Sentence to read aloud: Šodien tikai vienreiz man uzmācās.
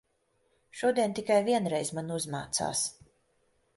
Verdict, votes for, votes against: accepted, 2, 1